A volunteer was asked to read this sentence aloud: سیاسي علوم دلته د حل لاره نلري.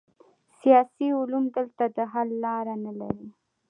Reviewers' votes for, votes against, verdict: 2, 0, accepted